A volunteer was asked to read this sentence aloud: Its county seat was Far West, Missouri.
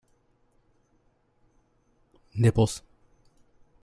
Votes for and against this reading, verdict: 0, 2, rejected